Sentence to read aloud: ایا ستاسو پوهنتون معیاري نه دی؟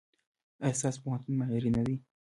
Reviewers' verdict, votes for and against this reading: rejected, 1, 2